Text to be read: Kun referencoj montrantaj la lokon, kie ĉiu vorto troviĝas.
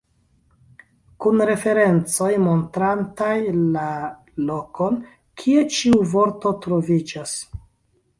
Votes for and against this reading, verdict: 2, 0, accepted